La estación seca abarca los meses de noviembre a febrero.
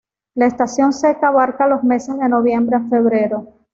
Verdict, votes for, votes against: accepted, 2, 0